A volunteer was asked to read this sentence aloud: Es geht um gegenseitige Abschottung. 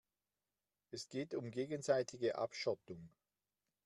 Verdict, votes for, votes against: accepted, 2, 0